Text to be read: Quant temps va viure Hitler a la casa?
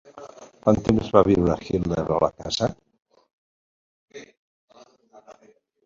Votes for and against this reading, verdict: 3, 2, accepted